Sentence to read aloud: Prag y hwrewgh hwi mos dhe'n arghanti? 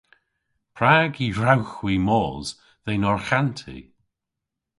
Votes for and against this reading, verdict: 2, 0, accepted